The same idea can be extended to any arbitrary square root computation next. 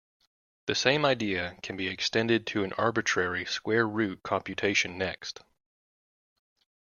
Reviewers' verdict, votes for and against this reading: rejected, 1, 2